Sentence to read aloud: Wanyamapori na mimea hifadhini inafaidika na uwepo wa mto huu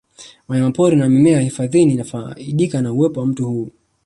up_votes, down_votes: 2, 1